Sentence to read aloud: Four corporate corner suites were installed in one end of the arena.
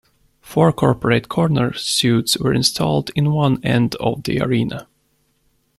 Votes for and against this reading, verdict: 0, 2, rejected